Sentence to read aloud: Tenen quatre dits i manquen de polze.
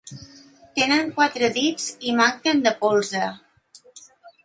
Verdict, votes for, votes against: accepted, 2, 0